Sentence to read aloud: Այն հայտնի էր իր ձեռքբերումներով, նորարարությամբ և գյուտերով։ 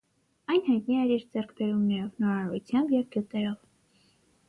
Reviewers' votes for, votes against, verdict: 6, 3, accepted